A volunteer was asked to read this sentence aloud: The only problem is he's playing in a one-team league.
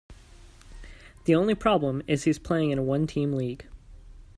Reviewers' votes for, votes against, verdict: 2, 0, accepted